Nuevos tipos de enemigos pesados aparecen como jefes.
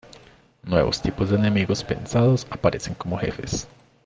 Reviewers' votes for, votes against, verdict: 0, 2, rejected